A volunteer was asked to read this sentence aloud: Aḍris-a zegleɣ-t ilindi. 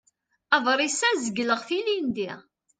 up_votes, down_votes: 2, 0